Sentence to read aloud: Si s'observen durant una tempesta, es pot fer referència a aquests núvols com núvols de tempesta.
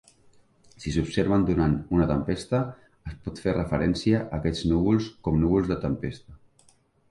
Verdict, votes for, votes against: rejected, 0, 2